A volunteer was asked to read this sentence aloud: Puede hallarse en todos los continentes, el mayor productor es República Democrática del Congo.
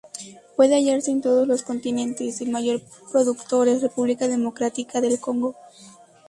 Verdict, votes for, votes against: accepted, 2, 0